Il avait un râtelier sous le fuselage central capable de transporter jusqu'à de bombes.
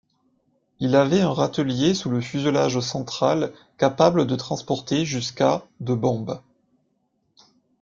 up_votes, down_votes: 2, 0